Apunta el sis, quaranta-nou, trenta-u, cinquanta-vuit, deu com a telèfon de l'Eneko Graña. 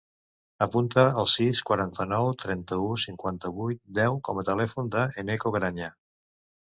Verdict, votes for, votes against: rejected, 1, 2